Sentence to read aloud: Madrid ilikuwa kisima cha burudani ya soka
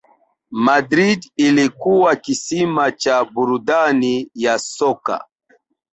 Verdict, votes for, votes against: accepted, 3, 1